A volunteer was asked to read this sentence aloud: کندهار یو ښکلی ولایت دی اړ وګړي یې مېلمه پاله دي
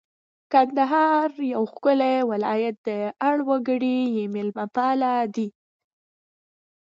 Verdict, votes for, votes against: accepted, 2, 0